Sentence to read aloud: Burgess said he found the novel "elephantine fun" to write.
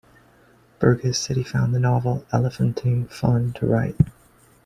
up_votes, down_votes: 2, 0